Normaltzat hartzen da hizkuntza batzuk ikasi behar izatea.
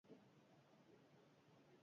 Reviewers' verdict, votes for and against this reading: rejected, 0, 4